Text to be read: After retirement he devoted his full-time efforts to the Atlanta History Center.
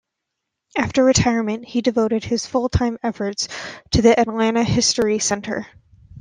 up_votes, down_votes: 1, 2